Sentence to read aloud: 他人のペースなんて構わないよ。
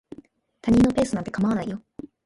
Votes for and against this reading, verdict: 0, 2, rejected